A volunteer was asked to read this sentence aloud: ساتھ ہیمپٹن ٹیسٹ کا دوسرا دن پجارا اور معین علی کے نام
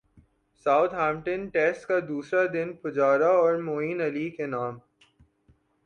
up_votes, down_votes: 2, 0